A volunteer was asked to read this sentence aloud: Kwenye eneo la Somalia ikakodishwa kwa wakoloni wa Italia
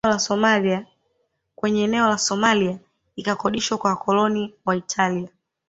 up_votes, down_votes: 1, 2